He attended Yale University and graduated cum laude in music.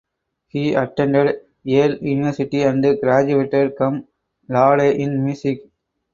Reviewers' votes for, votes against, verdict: 4, 2, accepted